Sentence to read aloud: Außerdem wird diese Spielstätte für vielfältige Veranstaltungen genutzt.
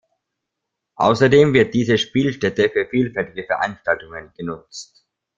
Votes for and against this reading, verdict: 0, 2, rejected